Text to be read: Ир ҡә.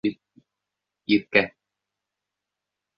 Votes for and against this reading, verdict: 0, 3, rejected